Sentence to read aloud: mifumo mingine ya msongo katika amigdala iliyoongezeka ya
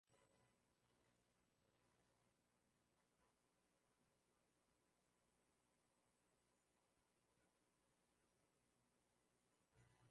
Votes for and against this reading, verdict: 0, 2, rejected